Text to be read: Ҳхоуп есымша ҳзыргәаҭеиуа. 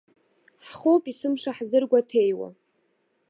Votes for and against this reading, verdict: 0, 2, rejected